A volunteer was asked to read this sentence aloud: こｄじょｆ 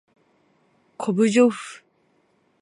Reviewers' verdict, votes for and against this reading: accepted, 2, 0